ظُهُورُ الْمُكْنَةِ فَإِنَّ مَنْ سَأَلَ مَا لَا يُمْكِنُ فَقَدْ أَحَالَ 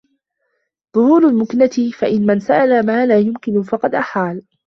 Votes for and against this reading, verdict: 2, 0, accepted